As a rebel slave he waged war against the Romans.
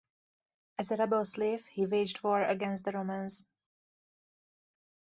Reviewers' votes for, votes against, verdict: 4, 0, accepted